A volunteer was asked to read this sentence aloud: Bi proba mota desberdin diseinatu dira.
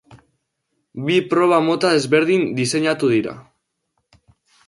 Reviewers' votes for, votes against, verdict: 2, 0, accepted